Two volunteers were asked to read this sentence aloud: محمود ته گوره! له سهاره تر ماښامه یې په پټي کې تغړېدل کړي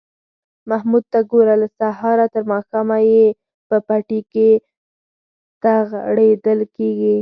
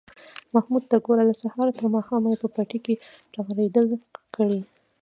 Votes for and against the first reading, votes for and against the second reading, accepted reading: 4, 0, 1, 2, first